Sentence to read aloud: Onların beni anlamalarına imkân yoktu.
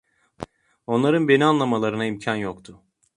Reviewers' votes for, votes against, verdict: 2, 0, accepted